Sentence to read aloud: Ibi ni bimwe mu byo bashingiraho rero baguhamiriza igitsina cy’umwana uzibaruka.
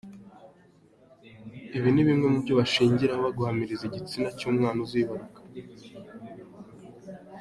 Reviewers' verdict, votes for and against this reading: rejected, 0, 2